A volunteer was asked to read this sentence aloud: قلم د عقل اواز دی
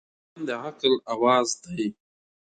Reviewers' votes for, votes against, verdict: 2, 0, accepted